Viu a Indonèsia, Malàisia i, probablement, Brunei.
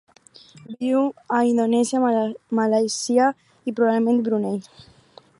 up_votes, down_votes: 4, 0